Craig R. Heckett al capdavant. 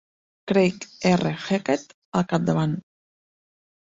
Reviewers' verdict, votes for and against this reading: accepted, 2, 1